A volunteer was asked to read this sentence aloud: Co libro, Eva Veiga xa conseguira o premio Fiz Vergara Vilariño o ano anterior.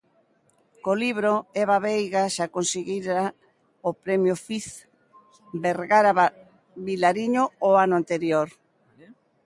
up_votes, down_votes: 0, 2